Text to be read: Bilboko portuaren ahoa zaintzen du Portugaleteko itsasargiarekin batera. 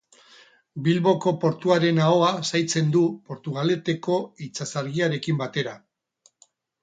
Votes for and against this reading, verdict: 6, 0, accepted